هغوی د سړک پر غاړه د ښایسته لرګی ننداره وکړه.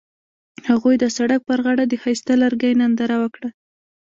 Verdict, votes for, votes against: accepted, 2, 1